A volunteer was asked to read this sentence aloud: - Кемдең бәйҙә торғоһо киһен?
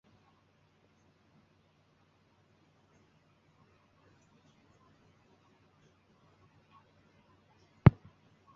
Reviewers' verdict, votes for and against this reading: rejected, 0, 2